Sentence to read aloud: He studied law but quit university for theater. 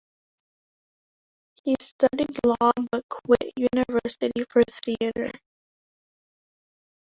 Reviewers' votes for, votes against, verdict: 0, 2, rejected